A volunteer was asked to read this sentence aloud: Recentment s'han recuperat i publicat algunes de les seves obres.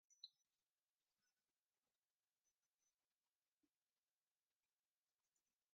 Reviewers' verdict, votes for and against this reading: rejected, 0, 2